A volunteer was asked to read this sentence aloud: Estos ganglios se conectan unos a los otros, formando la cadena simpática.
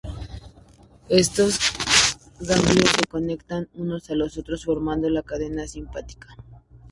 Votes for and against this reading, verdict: 0, 2, rejected